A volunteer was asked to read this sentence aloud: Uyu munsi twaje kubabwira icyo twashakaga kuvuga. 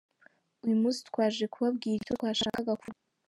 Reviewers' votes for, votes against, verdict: 2, 0, accepted